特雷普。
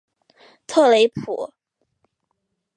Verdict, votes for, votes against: accepted, 2, 0